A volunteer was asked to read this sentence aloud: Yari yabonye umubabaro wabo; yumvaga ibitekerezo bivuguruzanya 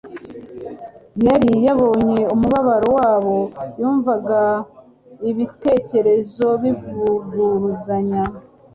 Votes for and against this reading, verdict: 2, 1, accepted